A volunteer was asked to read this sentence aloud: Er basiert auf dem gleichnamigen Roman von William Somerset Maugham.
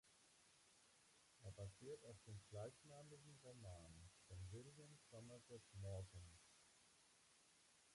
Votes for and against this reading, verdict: 1, 2, rejected